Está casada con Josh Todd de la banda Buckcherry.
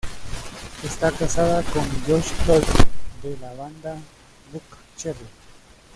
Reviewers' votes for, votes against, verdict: 0, 2, rejected